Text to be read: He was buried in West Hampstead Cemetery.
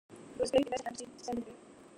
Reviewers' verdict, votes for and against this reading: rejected, 0, 2